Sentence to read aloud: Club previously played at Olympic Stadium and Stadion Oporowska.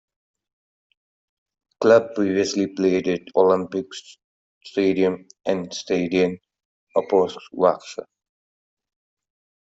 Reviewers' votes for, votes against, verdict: 0, 2, rejected